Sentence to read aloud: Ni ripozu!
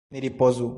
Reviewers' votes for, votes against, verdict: 1, 2, rejected